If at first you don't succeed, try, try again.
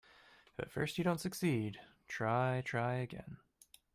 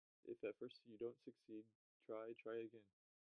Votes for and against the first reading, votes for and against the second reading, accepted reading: 2, 0, 0, 2, first